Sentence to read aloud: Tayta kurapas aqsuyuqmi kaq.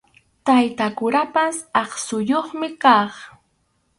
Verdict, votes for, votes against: accepted, 4, 0